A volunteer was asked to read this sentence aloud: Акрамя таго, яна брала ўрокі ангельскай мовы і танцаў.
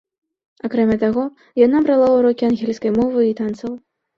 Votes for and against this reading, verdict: 2, 0, accepted